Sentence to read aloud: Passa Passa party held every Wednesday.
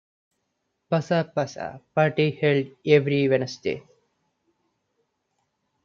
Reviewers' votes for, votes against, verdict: 2, 0, accepted